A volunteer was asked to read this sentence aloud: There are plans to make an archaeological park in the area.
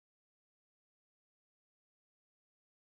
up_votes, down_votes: 0, 2